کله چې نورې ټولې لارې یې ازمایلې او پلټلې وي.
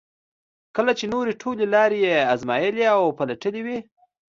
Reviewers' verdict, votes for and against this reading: accepted, 2, 0